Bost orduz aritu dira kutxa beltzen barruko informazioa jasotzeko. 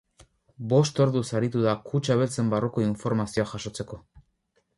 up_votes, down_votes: 2, 4